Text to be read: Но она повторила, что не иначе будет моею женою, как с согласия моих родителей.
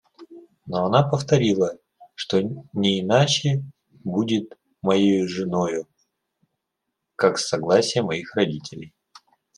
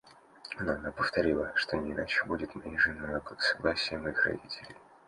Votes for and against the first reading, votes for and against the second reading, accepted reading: 0, 2, 2, 0, second